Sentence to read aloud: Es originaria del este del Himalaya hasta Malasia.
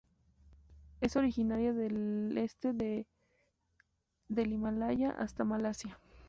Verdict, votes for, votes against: accepted, 2, 0